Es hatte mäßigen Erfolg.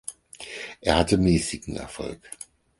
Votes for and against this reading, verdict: 0, 4, rejected